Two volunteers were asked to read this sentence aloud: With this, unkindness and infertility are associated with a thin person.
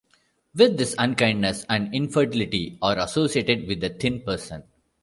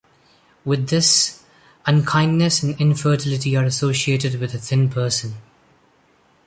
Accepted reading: second